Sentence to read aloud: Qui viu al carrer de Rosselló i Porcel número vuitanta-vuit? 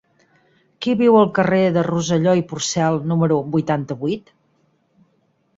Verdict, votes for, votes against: accepted, 6, 0